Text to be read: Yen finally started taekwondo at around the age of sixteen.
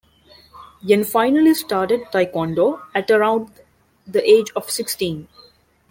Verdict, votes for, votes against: accepted, 2, 0